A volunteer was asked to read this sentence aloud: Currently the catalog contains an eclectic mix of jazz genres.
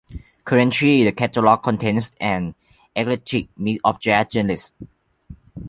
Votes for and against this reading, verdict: 0, 2, rejected